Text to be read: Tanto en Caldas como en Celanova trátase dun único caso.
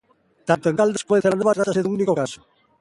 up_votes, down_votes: 0, 2